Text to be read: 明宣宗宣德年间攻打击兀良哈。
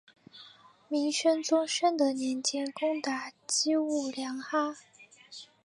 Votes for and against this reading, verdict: 2, 1, accepted